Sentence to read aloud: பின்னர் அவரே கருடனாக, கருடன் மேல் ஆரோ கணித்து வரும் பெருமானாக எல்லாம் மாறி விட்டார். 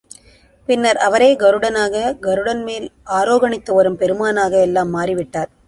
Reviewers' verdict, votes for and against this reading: accepted, 2, 0